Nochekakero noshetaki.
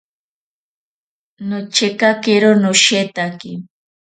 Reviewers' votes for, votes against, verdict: 4, 0, accepted